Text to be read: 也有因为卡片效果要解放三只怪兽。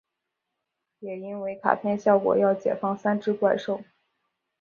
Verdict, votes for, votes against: accepted, 2, 0